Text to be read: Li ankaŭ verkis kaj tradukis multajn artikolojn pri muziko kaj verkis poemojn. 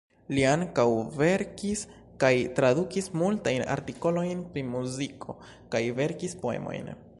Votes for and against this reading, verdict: 2, 0, accepted